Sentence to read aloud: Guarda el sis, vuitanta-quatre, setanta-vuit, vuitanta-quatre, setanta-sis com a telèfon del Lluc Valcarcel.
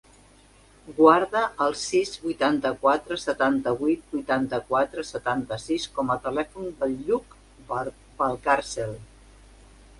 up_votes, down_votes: 1, 3